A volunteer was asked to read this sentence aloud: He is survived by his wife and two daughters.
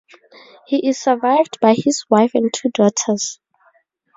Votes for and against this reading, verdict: 2, 0, accepted